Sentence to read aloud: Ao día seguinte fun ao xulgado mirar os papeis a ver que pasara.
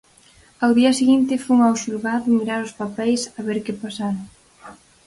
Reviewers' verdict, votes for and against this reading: accepted, 4, 0